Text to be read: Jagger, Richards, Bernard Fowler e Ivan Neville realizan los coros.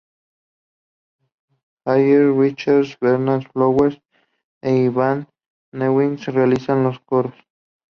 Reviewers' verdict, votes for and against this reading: accepted, 2, 0